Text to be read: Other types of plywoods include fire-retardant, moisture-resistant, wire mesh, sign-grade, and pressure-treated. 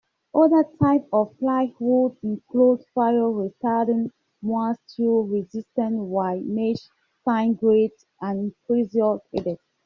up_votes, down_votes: 2, 1